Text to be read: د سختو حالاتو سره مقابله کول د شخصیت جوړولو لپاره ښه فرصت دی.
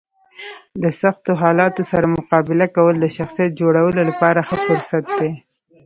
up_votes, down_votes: 1, 2